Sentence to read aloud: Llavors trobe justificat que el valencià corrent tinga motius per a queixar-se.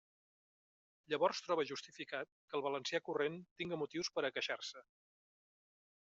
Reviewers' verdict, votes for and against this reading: accepted, 2, 0